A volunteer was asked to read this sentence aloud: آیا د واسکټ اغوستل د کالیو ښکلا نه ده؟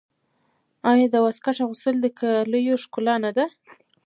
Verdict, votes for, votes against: rejected, 0, 2